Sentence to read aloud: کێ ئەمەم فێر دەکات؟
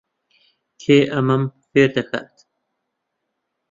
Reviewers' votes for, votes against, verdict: 1, 2, rejected